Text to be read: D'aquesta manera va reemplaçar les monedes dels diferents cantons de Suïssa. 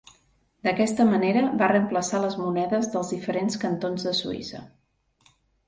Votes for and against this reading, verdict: 2, 0, accepted